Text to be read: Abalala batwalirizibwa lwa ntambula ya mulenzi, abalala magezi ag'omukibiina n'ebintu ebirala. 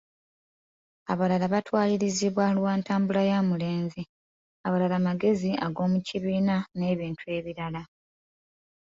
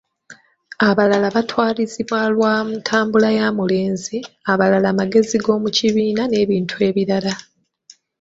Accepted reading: first